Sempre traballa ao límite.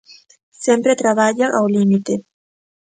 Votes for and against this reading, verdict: 2, 0, accepted